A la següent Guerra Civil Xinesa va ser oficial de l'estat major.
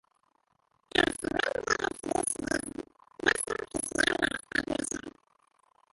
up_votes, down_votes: 0, 3